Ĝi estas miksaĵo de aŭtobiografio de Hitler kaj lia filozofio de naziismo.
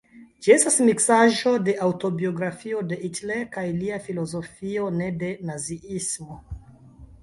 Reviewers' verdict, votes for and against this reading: rejected, 0, 2